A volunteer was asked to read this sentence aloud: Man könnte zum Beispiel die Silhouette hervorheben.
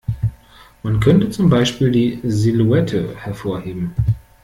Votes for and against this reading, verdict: 2, 0, accepted